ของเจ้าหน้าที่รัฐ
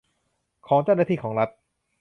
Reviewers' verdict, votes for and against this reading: rejected, 0, 2